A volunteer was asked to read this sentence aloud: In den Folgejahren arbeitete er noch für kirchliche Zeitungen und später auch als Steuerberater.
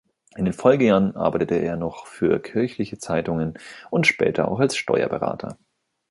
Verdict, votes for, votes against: accepted, 2, 0